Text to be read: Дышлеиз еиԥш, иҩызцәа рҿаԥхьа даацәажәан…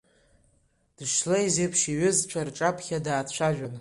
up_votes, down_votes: 2, 0